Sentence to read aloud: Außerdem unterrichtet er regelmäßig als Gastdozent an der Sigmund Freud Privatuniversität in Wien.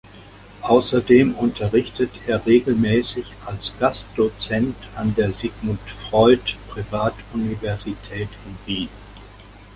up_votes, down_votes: 2, 0